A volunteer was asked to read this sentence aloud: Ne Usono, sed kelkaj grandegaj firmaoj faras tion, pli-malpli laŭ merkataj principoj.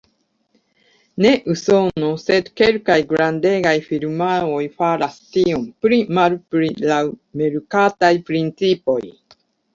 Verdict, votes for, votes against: accepted, 2, 1